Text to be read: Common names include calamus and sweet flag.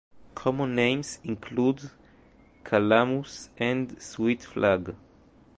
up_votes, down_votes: 2, 1